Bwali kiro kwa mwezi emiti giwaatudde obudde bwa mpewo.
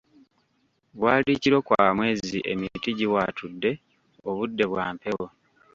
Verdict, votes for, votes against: rejected, 0, 2